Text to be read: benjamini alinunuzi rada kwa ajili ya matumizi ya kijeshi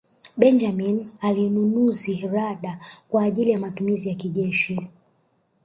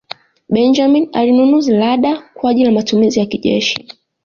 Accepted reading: second